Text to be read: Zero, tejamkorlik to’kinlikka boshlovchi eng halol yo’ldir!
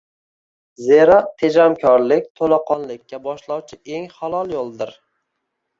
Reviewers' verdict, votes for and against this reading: rejected, 0, 2